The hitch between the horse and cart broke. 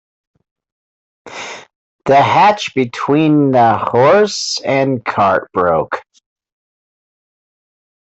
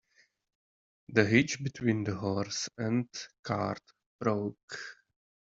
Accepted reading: second